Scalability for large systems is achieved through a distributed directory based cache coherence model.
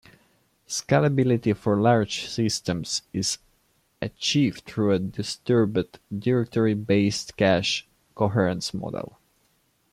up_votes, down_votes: 0, 2